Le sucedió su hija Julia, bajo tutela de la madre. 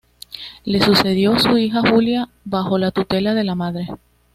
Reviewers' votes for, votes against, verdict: 2, 1, accepted